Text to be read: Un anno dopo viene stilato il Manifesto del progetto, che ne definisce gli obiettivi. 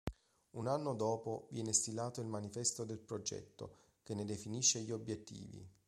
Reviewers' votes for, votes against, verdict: 2, 0, accepted